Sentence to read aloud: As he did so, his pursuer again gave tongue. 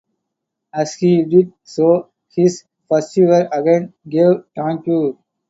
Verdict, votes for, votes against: rejected, 0, 2